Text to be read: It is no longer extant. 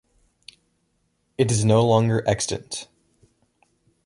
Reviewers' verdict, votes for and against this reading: accepted, 2, 0